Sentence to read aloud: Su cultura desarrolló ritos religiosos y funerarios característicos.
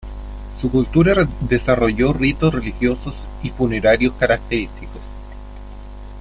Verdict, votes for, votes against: rejected, 1, 2